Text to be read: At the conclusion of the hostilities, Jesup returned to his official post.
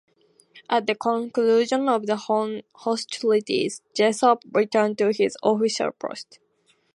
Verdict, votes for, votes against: rejected, 0, 2